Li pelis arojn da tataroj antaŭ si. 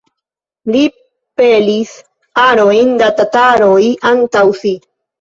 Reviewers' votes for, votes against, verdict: 0, 2, rejected